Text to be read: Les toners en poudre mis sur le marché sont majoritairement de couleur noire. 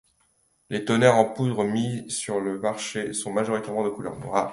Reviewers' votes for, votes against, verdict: 3, 0, accepted